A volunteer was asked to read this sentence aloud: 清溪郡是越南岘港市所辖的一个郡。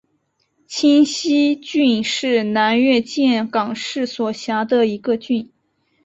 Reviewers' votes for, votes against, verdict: 3, 0, accepted